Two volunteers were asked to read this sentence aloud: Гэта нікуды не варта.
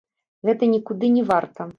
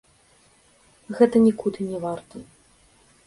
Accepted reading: second